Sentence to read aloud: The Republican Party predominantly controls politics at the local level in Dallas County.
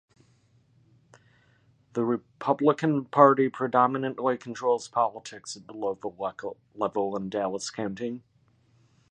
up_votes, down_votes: 2, 1